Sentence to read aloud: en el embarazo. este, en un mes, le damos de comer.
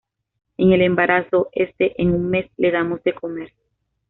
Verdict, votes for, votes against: accepted, 2, 0